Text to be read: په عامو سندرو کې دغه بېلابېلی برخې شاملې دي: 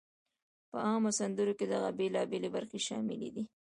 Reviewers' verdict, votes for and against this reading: accepted, 2, 0